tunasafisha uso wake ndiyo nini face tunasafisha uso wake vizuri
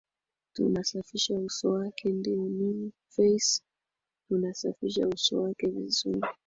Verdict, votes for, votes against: rejected, 3, 4